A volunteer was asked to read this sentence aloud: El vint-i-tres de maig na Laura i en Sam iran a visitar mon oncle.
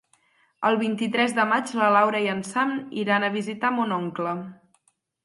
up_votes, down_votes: 6, 0